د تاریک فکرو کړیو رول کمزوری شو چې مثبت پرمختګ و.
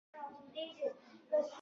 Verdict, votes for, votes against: rejected, 0, 2